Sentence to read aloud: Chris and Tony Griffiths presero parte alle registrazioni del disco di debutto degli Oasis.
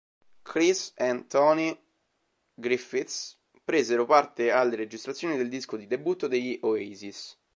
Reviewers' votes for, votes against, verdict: 2, 0, accepted